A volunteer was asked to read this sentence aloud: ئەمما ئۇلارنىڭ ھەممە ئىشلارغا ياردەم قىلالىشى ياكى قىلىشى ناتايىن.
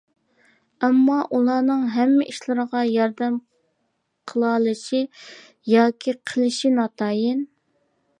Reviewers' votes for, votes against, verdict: 0, 2, rejected